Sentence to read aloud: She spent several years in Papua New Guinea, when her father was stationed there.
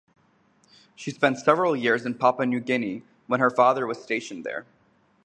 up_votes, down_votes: 2, 2